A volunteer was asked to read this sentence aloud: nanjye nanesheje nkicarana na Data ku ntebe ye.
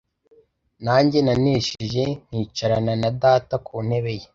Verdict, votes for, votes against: accepted, 2, 0